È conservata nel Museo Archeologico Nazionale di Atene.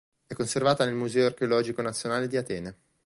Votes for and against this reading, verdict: 2, 0, accepted